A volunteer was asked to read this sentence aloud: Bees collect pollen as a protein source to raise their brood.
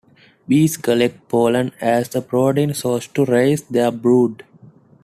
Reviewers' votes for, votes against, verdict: 2, 0, accepted